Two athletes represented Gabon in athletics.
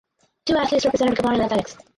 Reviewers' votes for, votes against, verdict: 0, 2, rejected